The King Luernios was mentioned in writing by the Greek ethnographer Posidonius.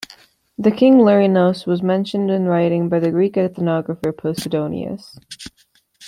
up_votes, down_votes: 2, 0